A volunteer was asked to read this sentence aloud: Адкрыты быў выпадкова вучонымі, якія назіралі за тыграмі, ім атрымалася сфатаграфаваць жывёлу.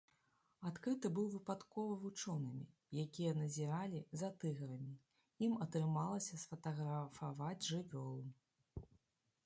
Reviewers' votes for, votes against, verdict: 0, 2, rejected